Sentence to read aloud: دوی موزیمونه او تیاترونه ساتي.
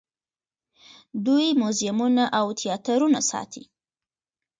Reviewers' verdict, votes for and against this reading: accepted, 2, 1